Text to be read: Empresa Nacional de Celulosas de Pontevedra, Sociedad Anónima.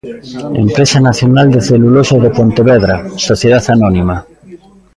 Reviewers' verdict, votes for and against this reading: rejected, 0, 2